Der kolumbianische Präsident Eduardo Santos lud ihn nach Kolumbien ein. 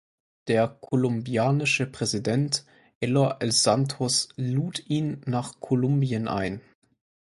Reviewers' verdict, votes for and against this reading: rejected, 0, 4